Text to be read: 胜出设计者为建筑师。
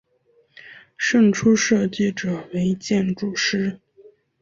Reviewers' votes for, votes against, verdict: 6, 2, accepted